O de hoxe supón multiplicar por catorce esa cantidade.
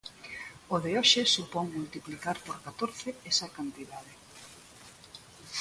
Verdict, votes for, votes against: accepted, 2, 1